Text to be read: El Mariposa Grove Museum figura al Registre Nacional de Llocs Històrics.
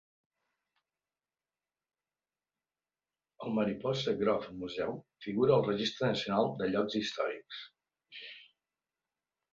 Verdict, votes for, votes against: accepted, 2, 1